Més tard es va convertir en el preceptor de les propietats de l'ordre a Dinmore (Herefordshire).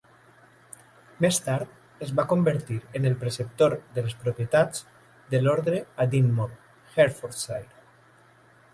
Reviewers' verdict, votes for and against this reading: accepted, 2, 0